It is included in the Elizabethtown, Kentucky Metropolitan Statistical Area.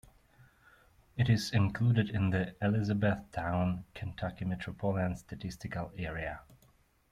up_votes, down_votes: 1, 2